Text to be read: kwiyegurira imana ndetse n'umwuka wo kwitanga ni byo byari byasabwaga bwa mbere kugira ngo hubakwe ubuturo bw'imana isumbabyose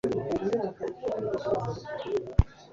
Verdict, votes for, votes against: rejected, 0, 2